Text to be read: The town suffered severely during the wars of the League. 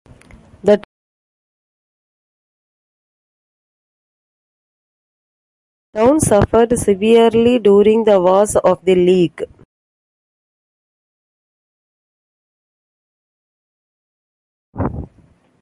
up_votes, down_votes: 0, 2